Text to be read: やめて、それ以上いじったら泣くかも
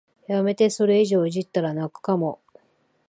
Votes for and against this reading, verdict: 1, 2, rejected